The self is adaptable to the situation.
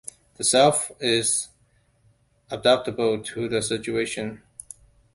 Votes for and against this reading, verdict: 2, 0, accepted